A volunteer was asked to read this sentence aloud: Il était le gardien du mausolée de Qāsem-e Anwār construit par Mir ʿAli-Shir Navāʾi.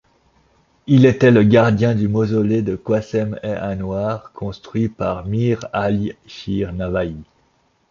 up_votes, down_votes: 2, 1